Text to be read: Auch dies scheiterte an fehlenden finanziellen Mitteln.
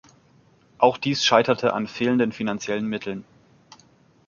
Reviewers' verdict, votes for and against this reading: accepted, 3, 0